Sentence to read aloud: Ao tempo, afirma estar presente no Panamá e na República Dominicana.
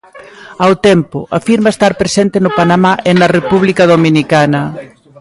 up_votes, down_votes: 1, 2